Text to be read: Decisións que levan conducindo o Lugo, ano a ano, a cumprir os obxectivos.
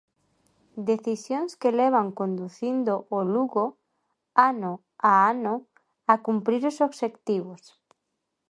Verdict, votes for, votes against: accepted, 2, 0